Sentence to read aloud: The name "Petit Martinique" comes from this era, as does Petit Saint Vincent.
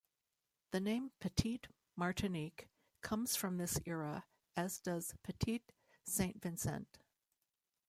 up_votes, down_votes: 2, 0